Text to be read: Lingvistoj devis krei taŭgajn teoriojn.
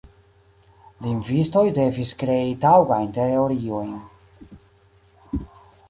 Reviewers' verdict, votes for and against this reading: rejected, 0, 2